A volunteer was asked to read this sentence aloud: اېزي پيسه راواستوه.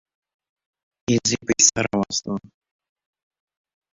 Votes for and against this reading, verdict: 1, 2, rejected